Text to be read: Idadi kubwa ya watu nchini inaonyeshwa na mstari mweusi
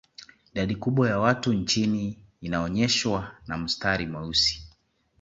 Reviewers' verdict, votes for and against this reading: accepted, 2, 0